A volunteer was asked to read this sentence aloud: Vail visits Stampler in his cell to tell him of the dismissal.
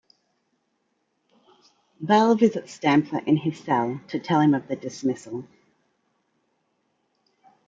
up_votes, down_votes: 1, 2